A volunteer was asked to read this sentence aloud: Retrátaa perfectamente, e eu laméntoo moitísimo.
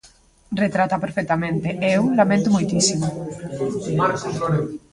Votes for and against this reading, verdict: 2, 0, accepted